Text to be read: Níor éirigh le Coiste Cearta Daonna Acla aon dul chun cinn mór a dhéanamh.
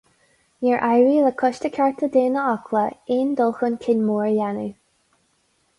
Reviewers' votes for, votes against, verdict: 4, 0, accepted